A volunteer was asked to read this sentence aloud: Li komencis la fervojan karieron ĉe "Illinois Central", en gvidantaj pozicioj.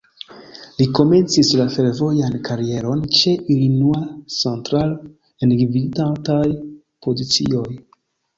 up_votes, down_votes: 0, 2